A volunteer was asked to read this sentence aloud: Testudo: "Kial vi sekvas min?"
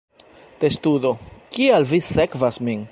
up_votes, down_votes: 2, 1